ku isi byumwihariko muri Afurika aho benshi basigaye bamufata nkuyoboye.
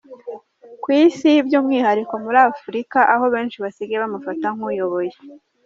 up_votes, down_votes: 2, 0